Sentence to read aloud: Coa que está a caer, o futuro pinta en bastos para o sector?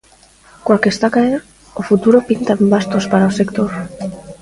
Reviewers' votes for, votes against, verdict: 2, 0, accepted